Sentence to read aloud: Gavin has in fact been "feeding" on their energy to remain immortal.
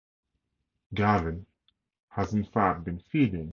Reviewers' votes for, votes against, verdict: 0, 6, rejected